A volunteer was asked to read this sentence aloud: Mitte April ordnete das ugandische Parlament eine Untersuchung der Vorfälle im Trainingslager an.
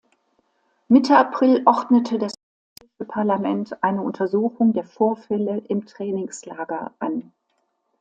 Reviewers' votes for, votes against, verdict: 0, 2, rejected